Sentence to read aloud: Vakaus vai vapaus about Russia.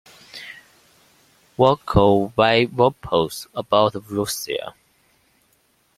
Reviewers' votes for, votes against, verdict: 2, 0, accepted